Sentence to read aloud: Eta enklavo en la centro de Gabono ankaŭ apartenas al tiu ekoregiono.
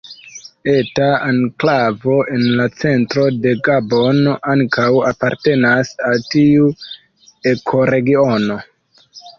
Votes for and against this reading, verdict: 0, 2, rejected